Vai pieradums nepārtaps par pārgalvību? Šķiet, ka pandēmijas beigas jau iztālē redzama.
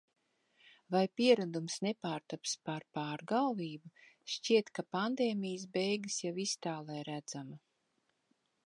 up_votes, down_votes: 3, 0